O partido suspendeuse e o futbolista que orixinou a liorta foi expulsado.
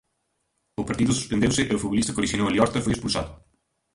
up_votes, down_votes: 0, 2